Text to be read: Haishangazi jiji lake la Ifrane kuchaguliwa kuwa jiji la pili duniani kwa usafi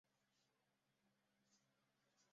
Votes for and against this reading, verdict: 0, 2, rejected